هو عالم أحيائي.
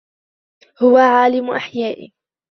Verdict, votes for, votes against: accepted, 2, 0